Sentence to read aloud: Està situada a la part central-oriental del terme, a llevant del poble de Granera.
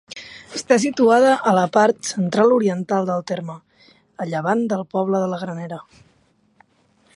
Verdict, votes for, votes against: rejected, 1, 2